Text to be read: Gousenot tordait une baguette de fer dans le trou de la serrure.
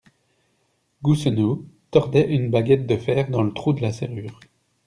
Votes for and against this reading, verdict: 3, 1, accepted